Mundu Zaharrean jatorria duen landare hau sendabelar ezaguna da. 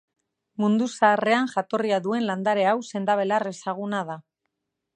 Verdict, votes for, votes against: accepted, 4, 0